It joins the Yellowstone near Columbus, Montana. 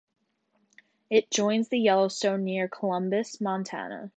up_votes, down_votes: 2, 0